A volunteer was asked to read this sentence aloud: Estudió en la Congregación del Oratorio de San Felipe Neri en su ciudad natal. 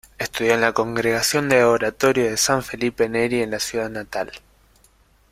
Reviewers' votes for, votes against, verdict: 0, 2, rejected